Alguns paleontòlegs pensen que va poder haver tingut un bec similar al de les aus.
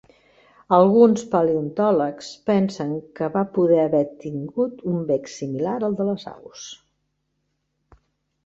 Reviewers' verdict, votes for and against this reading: accepted, 3, 0